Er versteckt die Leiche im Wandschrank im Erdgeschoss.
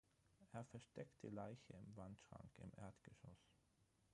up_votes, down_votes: 3, 6